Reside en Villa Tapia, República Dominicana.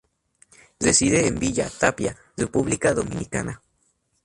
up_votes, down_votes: 2, 0